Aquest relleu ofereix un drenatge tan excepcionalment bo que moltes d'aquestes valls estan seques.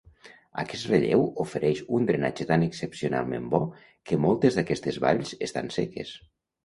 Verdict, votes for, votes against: accepted, 2, 0